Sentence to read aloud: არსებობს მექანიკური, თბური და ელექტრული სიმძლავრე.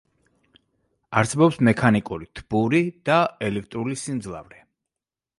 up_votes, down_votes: 2, 0